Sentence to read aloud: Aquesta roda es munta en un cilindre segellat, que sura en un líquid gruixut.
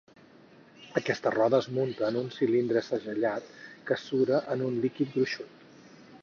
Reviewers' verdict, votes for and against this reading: accepted, 4, 2